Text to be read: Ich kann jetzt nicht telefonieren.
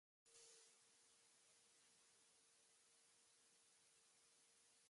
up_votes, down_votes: 0, 2